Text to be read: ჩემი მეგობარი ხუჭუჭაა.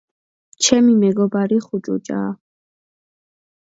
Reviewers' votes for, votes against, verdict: 2, 0, accepted